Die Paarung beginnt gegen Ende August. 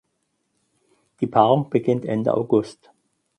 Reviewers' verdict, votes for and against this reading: rejected, 2, 4